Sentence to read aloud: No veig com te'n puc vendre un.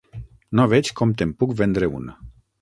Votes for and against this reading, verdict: 6, 9, rejected